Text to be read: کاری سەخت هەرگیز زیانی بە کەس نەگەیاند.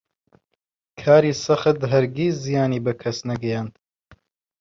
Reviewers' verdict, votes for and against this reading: accepted, 2, 0